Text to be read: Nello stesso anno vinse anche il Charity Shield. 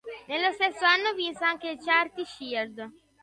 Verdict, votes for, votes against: rejected, 1, 2